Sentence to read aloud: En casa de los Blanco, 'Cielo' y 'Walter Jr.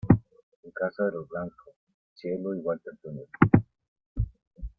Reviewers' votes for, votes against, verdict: 2, 0, accepted